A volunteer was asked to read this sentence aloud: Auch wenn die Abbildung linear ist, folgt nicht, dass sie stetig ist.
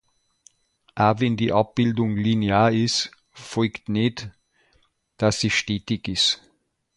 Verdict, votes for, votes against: rejected, 1, 2